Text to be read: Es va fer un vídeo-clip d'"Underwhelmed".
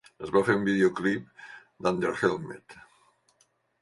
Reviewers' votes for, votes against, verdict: 1, 2, rejected